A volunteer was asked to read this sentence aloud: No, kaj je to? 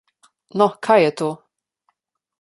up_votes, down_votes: 2, 0